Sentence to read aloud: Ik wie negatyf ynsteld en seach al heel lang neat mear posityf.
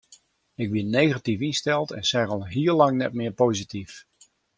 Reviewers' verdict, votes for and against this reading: accepted, 2, 0